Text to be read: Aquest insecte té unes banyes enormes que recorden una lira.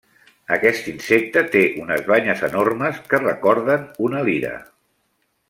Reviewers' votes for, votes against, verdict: 3, 0, accepted